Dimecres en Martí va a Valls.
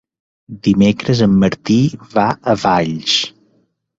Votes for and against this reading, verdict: 2, 0, accepted